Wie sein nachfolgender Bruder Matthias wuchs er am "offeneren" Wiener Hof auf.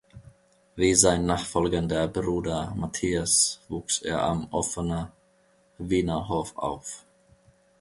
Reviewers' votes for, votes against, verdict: 1, 2, rejected